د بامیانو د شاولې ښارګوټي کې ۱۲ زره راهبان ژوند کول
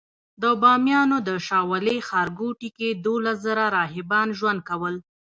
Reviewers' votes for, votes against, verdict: 0, 2, rejected